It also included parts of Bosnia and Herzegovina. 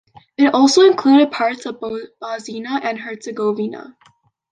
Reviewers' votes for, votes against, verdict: 1, 3, rejected